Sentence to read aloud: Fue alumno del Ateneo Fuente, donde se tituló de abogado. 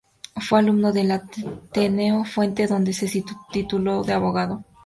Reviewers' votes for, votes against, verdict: 0, 2, rejected